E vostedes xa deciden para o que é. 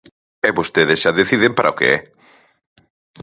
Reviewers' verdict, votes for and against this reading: accepted, 4, 0